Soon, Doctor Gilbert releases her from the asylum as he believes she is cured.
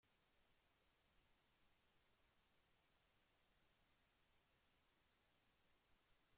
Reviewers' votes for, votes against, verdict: 0, 2, rejected